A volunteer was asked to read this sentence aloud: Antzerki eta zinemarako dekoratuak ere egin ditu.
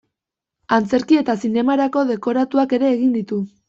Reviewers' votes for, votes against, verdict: 1, 2, rejected